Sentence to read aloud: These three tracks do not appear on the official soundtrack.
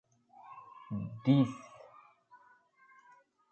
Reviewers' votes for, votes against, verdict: 1, 2, rejected